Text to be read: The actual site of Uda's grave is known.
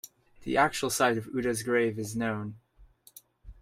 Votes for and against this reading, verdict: 2, 0, accepted